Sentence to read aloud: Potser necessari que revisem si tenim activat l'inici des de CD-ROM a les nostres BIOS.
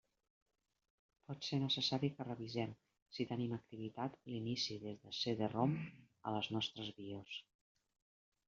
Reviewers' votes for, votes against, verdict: 1, 2, rejected